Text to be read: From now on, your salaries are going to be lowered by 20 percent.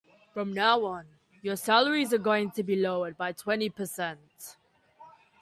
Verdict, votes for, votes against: rejected, 0, 2